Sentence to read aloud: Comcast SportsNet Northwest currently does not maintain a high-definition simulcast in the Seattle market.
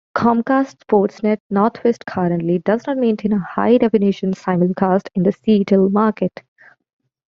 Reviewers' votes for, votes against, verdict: 0, 2, rejected